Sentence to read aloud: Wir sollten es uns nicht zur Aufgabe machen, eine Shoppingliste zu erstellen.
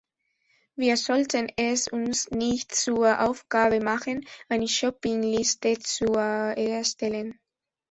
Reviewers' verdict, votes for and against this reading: rejected, 0, 2